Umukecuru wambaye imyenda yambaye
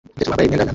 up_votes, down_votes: 0, 2